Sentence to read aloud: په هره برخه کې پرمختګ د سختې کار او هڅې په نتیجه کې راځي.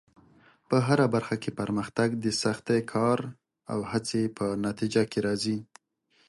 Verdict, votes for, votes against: accepted, 2, 0